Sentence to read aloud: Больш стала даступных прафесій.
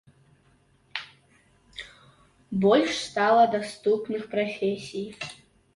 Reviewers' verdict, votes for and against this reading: accepted, 2, 0